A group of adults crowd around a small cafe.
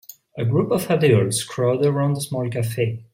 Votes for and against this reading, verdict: 0, 2, rejected